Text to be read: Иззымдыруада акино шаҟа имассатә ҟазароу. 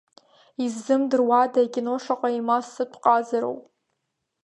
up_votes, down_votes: 2, 0